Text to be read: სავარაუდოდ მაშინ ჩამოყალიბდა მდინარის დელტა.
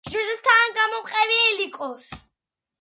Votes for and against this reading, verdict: 0, 2, rejected